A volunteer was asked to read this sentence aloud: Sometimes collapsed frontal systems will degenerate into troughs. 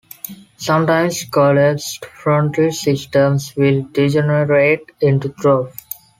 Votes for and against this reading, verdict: 2, 1, accepted